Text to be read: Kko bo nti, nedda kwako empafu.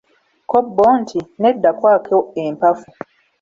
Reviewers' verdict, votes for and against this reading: rejected, 1, 2